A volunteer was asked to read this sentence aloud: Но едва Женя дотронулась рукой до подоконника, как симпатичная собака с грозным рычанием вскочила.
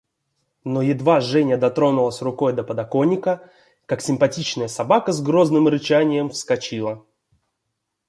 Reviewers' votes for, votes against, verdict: 2, 0, accepted